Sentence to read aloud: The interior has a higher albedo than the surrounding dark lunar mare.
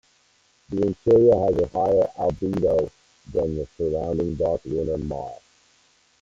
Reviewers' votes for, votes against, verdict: 0, 2, rejected